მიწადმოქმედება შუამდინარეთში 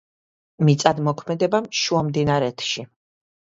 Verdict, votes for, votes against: accepted, 2, 0